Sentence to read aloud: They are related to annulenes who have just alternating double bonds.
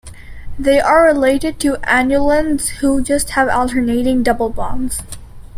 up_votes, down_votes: 2, 0